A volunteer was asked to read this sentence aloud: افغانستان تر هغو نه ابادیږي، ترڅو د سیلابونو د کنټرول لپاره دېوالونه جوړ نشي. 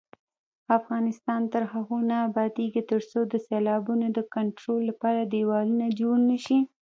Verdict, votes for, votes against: rejected, 1, 2